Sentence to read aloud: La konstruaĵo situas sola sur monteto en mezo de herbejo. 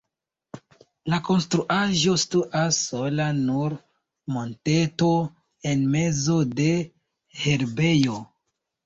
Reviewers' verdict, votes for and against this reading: rejected, 0, 2